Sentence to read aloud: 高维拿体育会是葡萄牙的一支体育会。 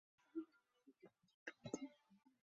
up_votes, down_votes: 0, 5